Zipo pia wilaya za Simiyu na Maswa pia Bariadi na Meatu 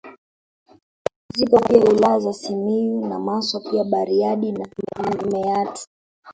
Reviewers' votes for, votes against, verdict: 0, 2, rejected